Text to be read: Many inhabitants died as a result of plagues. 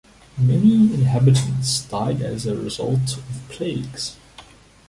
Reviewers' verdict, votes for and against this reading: rejected, 1, 2